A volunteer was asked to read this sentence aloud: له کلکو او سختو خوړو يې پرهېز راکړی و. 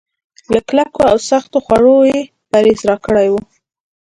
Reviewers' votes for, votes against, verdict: 1, 2, rejected